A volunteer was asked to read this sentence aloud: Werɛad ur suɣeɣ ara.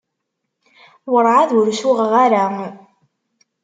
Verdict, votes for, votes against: rejected, 1, 2